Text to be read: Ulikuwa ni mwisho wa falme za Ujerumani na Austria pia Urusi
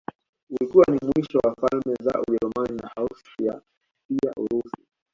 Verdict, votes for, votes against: accepted, 2, 0